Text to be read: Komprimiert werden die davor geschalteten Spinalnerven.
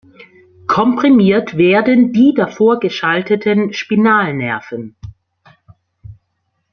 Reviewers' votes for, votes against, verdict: 2, 0, accepted